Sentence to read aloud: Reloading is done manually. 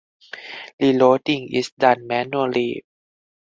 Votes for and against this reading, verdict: 2, 2, rejected